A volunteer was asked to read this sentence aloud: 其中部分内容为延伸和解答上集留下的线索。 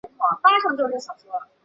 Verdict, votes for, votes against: rejected, 0, 2